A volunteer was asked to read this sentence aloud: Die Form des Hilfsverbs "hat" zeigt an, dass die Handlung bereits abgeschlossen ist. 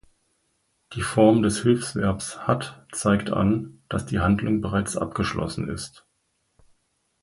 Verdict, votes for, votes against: accepted, 4, 0